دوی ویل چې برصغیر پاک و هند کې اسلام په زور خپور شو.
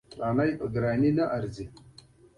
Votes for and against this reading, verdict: 1, 2, rejected